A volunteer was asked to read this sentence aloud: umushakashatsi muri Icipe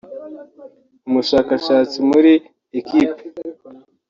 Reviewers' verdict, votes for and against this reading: rejected, 0, 2